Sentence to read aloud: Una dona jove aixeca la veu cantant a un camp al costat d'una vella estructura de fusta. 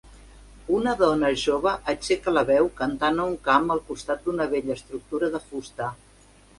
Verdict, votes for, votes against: accepted, 4, 0